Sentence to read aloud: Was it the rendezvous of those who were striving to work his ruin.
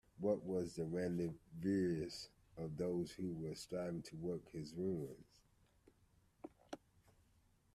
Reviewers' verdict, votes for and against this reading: rejected, 1, 2